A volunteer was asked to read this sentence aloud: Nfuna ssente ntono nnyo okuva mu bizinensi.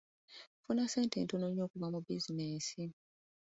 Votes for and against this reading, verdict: 2, 0, accepted